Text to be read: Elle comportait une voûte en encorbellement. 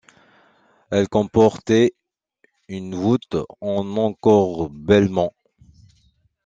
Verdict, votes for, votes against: accepted, 2, 1